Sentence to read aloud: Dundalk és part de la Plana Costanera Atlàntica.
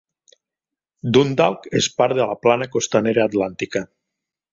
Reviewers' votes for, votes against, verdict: 3, 0, accepted